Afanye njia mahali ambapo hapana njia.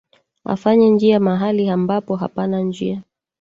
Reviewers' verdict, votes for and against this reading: rejected, 1, 2